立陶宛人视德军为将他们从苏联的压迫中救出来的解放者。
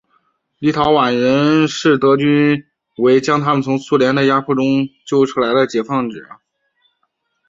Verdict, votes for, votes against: accepted, 2, 0